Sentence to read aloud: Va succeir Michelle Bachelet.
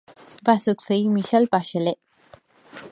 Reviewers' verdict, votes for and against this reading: accepted, 2, 0